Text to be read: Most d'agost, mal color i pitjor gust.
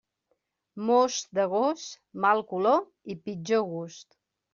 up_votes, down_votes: 3, 0